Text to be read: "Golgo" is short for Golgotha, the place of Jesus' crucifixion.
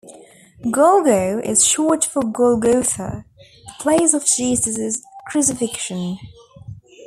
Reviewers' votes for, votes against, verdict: 2, 0, accepted